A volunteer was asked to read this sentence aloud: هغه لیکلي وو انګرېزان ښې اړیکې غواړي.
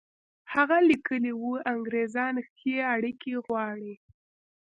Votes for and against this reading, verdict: 1, 2, rejected